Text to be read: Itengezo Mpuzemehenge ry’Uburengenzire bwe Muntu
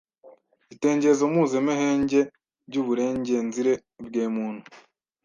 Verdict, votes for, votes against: rejected, 1, 2